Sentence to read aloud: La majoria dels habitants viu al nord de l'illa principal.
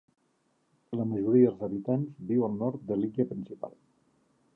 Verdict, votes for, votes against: rejected, 1, 3